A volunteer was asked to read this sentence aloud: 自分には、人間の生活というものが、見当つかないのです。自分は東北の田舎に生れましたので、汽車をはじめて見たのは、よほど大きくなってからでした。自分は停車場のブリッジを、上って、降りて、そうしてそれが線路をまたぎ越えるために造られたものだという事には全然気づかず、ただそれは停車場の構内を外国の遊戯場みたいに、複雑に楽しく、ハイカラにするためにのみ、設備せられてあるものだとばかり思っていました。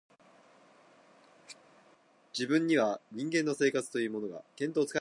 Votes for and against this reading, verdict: 0, 2, rejected